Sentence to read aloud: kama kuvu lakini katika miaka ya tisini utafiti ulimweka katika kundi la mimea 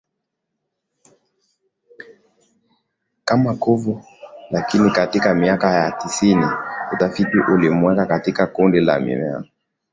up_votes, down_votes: 5, 7